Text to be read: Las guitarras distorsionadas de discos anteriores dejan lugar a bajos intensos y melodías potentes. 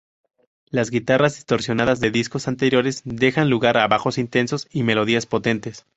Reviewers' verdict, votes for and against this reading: accepted, 4, 0